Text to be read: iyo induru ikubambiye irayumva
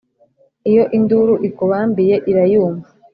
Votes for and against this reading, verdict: 2, 0, accepted